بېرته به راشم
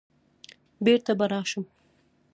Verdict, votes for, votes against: rejected, 0, 2